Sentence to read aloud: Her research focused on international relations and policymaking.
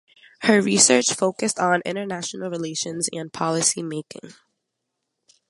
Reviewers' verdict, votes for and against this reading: accepted, 2, 0